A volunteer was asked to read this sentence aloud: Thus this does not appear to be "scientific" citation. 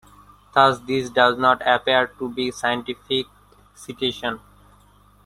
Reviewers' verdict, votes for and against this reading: rejected, 0, 2